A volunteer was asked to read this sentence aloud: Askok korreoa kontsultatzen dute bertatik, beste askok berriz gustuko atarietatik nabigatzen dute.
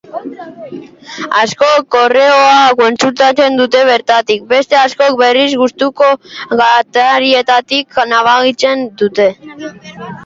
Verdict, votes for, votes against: rejected, 0, 2